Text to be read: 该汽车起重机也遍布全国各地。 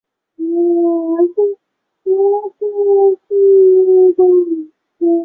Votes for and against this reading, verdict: 1, 4, rejected